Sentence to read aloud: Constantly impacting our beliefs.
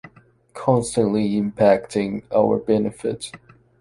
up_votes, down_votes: 0, 2